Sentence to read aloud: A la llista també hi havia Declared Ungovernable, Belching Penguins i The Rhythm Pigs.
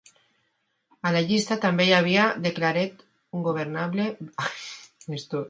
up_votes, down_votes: 0, 2